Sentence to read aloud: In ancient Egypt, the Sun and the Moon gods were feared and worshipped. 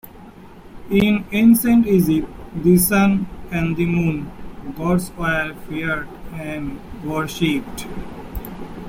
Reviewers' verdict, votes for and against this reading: rejected, 0, 2